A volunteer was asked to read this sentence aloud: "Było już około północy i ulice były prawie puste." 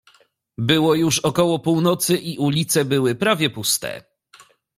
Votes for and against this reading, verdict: 2, 0, accepted